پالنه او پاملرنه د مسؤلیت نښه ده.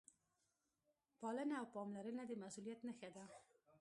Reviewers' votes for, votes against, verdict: 2, 0, accepted